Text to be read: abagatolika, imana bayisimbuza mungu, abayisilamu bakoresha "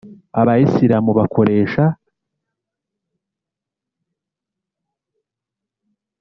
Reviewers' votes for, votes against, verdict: 1, 2, rejected